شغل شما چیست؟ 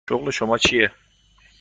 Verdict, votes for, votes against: rejected, 1, 2